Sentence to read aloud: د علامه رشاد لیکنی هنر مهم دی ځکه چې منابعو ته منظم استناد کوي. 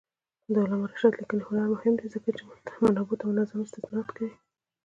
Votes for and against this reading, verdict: 2, 0, accepted